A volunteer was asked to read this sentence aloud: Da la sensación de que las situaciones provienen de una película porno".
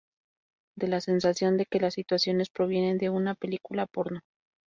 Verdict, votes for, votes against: accepted, 2, 0